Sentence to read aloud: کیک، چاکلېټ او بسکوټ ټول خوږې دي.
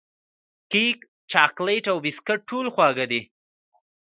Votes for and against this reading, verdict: 2, 1, accepted